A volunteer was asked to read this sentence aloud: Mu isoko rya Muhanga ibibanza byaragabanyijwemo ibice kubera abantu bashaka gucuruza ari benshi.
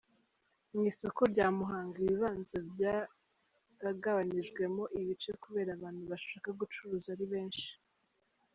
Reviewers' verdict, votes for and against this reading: accepted, 3, 0